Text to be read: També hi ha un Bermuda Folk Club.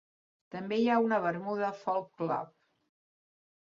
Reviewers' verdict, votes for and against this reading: rejected, 1, 2